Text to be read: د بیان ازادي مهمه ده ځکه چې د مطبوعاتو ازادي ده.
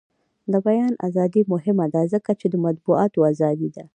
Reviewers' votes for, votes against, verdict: 2, 0, accepted